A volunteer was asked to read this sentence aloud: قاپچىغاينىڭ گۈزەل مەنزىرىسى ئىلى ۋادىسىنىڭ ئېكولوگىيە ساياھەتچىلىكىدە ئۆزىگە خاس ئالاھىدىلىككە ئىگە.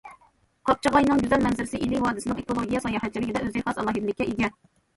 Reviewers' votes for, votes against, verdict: 2, 1, accepted